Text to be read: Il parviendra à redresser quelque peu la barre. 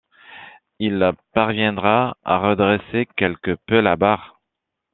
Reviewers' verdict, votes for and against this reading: accepted, 2, 0